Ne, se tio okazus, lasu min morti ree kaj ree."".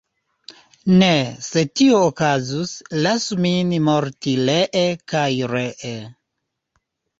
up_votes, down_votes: 1, 2